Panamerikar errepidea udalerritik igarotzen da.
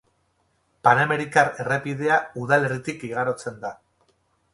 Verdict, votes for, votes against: rejected, 0, 2